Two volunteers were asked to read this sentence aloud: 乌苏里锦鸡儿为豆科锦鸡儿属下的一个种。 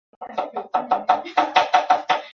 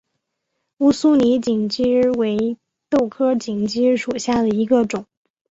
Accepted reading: second